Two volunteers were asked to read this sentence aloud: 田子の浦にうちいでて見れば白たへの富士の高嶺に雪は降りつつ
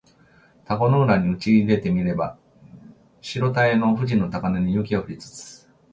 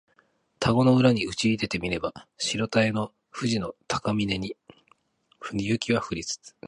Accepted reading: first